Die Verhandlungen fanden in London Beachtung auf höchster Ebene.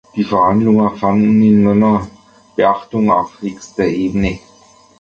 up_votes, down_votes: 1, 2